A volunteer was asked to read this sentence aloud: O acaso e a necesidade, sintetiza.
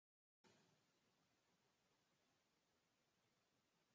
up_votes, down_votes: 0, 2